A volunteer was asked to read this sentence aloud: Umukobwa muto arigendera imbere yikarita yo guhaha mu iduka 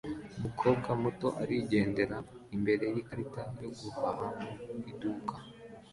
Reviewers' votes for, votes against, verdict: 2, 0, accepted